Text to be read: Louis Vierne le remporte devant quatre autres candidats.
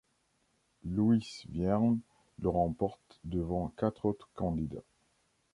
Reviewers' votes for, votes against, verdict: 0, 2, rejected